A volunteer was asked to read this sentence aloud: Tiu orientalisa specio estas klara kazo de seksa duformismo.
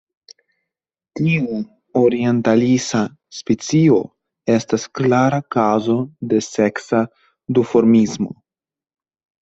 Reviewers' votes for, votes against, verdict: 2, 0, accepted